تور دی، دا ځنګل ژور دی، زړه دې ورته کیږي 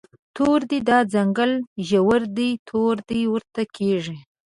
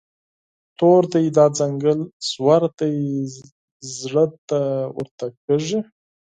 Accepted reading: second